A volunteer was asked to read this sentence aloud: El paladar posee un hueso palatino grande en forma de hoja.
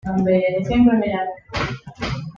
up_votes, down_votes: 1, 2